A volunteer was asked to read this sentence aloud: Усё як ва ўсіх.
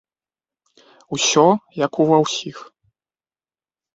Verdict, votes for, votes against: rejected, 0, 2